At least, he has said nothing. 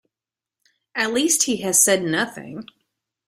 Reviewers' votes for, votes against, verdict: 2, 0, accepted